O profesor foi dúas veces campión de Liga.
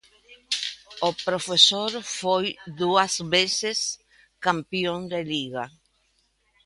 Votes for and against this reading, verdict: 1, 2, rejected